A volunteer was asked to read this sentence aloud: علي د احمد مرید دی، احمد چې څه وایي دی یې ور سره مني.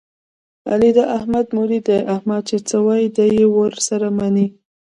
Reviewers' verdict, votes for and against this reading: rejected, 0, 2